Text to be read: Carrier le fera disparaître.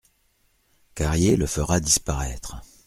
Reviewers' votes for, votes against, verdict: 2, 0, accepted